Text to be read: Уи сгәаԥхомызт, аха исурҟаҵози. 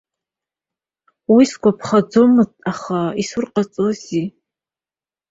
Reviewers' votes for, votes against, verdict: 1, 2, rejected